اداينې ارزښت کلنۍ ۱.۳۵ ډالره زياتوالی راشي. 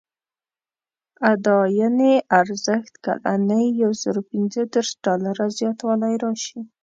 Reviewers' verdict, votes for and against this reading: rejected, 0, 2